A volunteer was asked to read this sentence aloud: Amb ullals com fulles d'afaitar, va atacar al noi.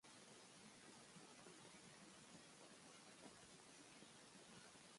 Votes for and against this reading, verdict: 0, 2, rejected